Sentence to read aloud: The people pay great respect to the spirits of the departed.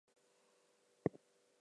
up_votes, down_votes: 0, 4